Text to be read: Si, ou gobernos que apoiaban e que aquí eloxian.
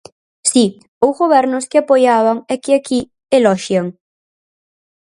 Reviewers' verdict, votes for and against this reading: accepted, 4, 0